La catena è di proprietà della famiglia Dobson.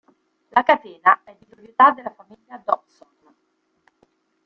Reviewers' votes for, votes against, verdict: 1, 2, rejected